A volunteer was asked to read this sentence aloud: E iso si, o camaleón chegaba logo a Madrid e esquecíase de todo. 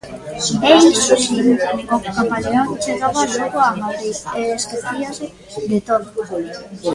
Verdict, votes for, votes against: rejected, 1, 2